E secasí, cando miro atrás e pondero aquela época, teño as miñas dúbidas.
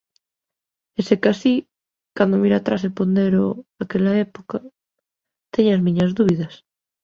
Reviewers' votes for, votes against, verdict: 2, 0, accepted